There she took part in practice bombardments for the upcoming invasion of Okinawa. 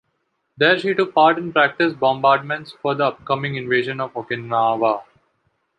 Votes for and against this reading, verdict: 2, 0, accepted